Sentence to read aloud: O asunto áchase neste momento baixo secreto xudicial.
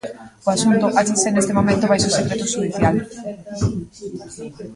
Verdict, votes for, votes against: rejected, 0, 2